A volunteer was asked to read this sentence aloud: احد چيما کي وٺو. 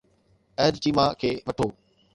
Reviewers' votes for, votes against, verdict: 2, 0, accepted